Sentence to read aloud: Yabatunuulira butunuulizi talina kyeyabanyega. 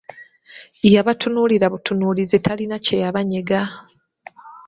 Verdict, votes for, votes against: accepted, 2, 0